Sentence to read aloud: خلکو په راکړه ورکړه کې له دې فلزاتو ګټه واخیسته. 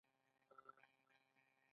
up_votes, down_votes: 2, 0